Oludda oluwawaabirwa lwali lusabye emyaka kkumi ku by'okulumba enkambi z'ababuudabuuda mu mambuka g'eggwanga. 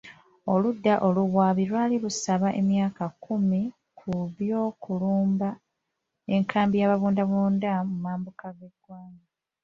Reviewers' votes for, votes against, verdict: 0, 2, rejected